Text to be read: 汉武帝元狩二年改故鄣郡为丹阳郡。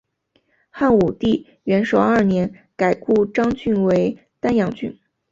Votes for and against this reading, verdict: 2, 0, accepted